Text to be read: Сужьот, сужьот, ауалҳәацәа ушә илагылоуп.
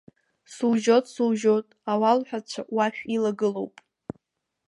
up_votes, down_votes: 1, 2